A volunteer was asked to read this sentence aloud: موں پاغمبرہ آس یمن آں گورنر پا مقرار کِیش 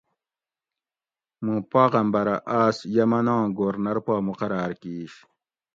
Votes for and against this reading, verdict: 2, 0, accepted